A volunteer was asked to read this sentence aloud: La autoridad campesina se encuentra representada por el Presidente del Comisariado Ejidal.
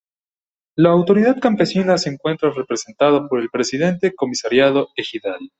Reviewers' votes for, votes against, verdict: 0, 2, rejected